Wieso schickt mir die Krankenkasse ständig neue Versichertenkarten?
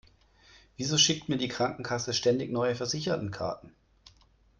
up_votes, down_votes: 2, 0